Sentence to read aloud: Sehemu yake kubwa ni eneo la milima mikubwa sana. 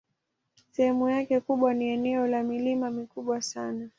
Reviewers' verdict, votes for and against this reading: accepted, 2, 0